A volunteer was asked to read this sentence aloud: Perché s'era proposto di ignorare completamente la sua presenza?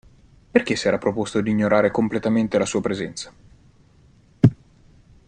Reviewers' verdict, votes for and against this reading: accepted, 2, 0